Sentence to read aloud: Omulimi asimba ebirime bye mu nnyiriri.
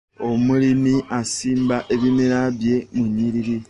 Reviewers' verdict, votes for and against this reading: rejected, 0, 2